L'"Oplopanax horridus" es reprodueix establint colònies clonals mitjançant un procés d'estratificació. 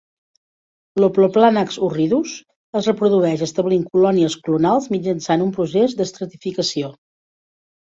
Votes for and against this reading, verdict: 2, 0, accepted